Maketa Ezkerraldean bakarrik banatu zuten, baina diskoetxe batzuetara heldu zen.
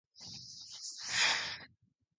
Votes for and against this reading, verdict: 0, 6, rejected